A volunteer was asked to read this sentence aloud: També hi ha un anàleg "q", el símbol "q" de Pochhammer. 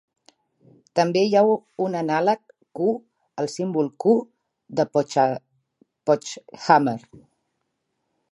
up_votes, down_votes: 0, 2